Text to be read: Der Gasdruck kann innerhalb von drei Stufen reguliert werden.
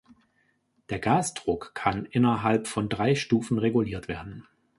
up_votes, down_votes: 2, 0